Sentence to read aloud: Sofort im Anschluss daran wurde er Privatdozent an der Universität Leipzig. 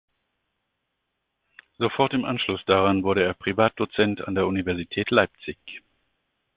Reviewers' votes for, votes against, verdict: 2, 0, accepted